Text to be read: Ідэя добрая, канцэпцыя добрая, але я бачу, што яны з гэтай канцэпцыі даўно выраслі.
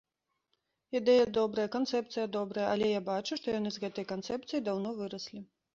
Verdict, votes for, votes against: accepted, 2, 0